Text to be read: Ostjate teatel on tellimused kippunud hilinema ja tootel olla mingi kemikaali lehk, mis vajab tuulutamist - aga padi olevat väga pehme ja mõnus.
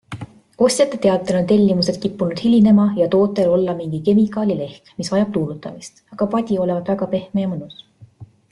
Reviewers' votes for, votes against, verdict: 2, 0, accepted